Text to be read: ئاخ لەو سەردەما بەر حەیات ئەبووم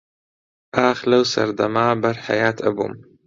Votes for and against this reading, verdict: 2, 0, accepted